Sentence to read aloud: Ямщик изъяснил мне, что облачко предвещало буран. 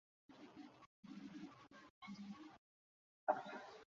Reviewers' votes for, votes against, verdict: 0, 2, rejected